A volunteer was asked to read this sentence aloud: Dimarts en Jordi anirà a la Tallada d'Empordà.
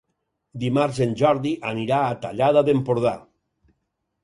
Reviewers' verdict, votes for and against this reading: rejected, 2, 6